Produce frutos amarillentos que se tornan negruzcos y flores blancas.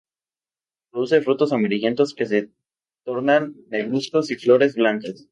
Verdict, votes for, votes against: rejected, 0, 2